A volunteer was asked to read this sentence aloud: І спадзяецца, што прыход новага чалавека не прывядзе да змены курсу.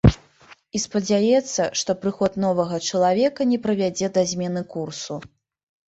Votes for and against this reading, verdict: 3, 0, accepted